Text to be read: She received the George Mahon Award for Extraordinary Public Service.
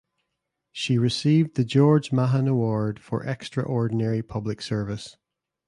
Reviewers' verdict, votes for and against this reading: accepted, 2, 0